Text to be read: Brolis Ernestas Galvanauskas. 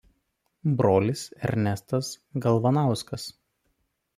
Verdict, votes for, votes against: accepted, 2, 0